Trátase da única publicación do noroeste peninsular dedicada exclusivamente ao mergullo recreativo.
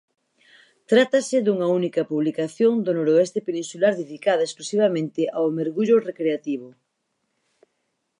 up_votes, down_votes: 0, 4